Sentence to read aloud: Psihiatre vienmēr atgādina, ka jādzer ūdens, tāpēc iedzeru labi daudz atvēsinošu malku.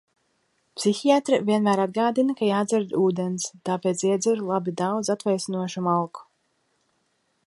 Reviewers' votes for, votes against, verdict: 4, 0, accepted